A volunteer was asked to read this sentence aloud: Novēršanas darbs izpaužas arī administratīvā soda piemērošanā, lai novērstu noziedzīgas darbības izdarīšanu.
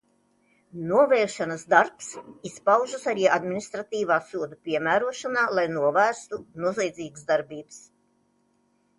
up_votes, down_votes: 0, 2